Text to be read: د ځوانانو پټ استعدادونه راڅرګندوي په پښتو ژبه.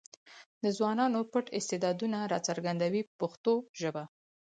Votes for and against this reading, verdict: 4, 0, accepted